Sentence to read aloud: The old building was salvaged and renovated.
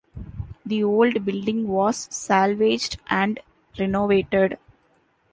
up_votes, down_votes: 2, 0